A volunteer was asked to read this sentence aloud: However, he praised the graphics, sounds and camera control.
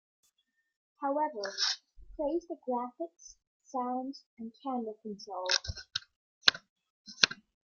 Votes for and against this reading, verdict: 2, 0, accepted